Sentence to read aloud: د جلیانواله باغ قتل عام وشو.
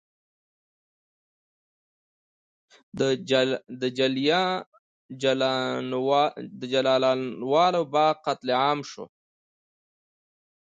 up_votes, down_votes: 1, 2